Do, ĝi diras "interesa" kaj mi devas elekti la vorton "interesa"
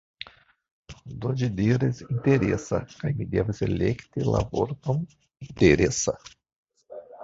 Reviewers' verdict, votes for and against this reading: rejected, 0, 2